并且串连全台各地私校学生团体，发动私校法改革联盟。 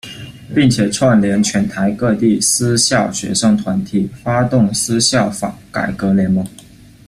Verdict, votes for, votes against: accepted, 2, 0